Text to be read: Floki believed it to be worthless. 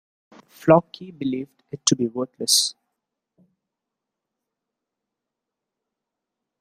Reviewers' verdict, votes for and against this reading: rejected, 1, 2